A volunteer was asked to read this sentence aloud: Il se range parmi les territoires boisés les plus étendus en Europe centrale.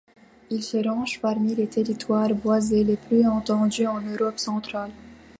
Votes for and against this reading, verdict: 0, 2, rejected